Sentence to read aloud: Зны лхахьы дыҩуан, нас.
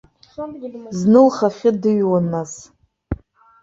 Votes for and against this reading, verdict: 1, 2, rejected